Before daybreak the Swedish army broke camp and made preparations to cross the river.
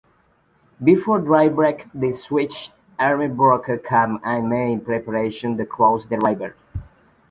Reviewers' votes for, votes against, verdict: 0, 3, rejected